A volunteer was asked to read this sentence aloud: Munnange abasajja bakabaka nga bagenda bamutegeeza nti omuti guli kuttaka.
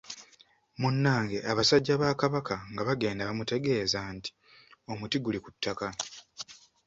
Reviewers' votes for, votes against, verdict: 2, 0, accepted